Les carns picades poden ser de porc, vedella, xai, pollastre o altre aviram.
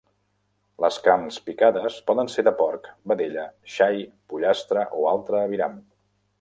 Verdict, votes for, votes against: accepted, 2, 0